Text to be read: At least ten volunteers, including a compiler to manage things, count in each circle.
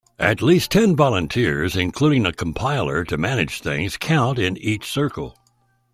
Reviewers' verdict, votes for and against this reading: accepted, 2, 0